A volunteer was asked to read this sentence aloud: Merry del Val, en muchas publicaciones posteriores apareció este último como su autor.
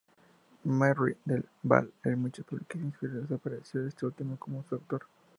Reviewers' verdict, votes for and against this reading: rejected, 0, 2